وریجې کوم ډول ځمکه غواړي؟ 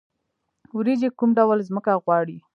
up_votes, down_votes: 1, 2